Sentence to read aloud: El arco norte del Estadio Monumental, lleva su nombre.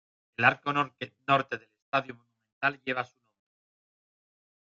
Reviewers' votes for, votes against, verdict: 0, 2, rejected